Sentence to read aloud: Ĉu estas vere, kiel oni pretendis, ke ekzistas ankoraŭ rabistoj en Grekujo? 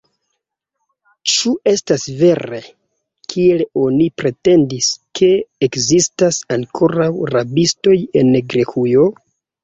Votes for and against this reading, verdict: 2, 0, accepted